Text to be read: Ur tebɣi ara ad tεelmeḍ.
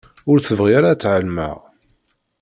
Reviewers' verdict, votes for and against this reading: rejected, 0, 2